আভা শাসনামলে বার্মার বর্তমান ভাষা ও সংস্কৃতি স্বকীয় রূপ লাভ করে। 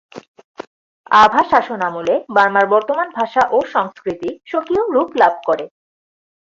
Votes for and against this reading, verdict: 2, 0, accepted